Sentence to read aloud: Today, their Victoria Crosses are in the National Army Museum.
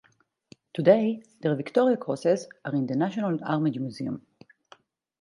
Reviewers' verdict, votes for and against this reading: rejected, 2, 2